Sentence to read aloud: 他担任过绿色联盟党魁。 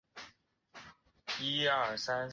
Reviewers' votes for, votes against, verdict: 0, 3, rejected